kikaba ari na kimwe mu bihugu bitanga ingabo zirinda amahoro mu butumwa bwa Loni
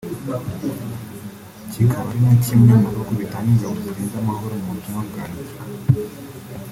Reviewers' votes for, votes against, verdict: 0, 2, rejected